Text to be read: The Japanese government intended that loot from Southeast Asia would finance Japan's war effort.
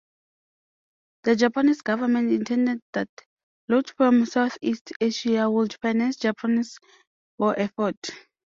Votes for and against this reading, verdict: 2, 0, accepted